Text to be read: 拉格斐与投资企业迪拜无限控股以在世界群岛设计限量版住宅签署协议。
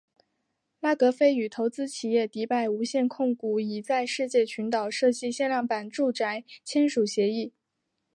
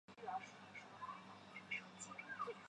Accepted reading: first